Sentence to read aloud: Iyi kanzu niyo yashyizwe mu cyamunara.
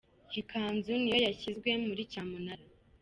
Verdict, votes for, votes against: accepted, 3, 0